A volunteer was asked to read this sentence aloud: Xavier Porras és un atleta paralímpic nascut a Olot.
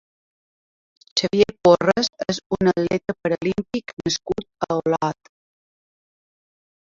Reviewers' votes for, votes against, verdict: 1, 2, rejected